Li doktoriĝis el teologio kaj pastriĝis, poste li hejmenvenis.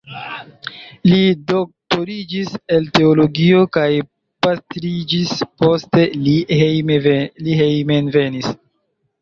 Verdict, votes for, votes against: rejected, 1, 2